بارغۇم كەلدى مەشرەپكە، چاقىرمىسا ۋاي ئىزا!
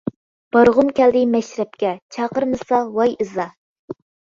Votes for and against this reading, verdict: 2, 0, accepted